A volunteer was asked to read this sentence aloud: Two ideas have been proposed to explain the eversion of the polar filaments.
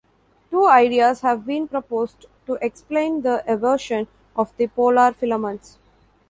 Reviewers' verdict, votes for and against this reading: accepted, 2, 0